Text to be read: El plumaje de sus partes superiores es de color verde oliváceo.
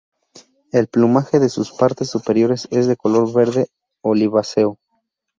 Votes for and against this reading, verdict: 2, 0, accepted